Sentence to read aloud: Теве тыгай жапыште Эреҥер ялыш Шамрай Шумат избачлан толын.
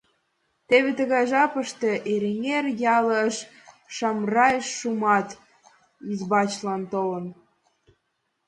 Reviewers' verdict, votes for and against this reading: accepted, 2, 0